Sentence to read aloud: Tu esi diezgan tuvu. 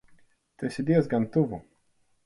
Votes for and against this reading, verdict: 4, 0, accepted